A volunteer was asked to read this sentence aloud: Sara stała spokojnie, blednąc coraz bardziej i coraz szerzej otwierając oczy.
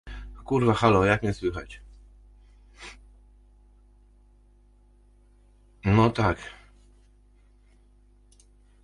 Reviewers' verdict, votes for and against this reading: rejected, 0, 2